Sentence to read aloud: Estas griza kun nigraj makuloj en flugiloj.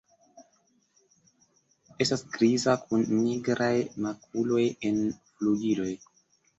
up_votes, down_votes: 2, 0